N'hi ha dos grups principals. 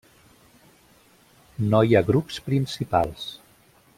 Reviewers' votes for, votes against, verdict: 0, 2, rejected